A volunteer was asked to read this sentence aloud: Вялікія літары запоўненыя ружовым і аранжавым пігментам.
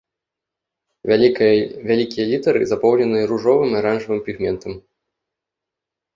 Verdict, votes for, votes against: rejected, 0, 2